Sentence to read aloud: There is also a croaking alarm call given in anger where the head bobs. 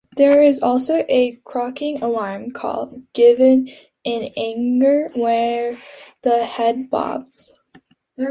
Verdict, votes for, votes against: accepted, 2, 0